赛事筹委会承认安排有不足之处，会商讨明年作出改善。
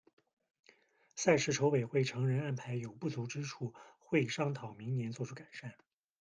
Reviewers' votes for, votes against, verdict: 0, 2, rejected